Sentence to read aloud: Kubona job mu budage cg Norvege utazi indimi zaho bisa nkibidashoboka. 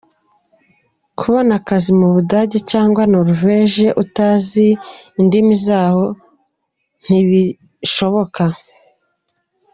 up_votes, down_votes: 0, 2